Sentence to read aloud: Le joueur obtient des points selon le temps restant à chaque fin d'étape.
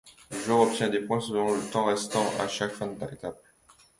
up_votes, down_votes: 2, 0